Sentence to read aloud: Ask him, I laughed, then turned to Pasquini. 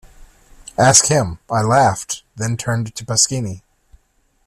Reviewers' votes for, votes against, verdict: 2, 0, accepted